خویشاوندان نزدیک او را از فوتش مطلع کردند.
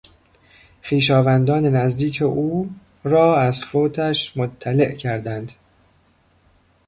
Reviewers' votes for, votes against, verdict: 0, 2, rejected